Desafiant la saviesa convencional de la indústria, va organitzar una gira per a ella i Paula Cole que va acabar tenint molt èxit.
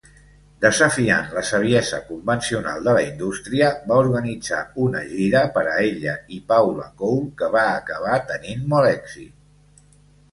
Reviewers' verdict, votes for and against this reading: accepted, 2, 0